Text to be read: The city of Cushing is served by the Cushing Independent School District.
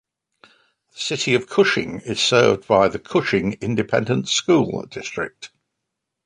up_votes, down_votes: 2, 0